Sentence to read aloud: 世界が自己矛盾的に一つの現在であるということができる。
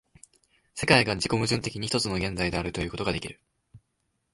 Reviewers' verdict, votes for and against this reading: accepted, 2, 0